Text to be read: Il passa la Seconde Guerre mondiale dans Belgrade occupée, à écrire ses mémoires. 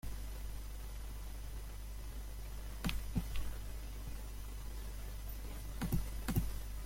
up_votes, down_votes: 0, 2